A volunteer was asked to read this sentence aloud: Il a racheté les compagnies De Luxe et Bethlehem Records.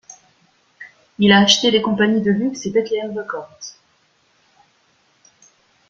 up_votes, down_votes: 0, 2